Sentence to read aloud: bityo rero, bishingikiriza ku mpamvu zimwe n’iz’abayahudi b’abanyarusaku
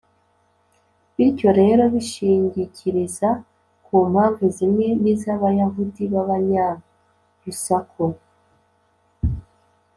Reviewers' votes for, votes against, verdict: 2, 0, accepted